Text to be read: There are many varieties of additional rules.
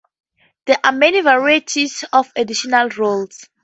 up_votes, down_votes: 2, 0